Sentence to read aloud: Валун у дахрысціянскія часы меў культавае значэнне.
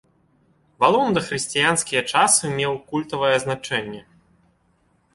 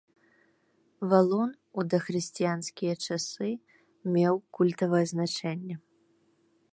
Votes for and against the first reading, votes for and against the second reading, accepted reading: 1, 2, 2, 0, second